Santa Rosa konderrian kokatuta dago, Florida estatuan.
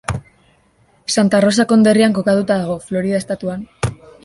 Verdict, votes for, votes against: accepted, 2, 0